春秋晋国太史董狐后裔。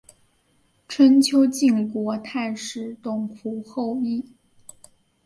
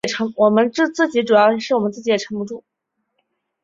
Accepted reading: first